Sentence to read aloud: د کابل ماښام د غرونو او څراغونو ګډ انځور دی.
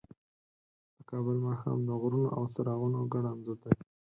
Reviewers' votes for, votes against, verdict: 2, 4, rejected